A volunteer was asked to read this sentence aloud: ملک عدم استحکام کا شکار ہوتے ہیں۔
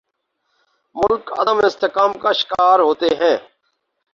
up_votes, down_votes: 2, 2